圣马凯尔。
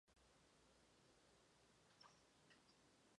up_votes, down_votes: 0, 2